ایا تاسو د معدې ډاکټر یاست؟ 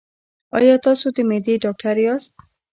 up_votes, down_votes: 0, 2